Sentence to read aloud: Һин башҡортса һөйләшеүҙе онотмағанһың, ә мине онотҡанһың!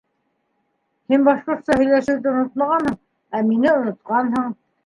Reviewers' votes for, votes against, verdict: 1, 2, rejected